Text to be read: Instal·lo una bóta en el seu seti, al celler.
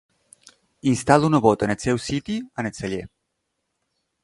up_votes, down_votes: 1, 2